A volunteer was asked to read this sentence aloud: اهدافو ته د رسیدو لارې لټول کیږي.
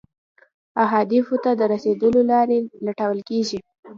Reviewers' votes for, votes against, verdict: 2, 0, accepted